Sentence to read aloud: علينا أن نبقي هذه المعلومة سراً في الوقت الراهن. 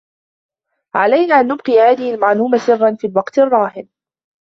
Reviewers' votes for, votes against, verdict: 2, 1, accepted